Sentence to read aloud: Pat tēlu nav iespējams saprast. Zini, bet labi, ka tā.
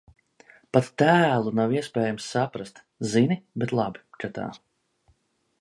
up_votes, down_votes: 2, 0